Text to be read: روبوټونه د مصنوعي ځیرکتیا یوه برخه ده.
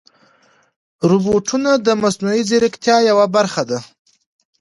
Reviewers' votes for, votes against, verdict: 2, 0, accepted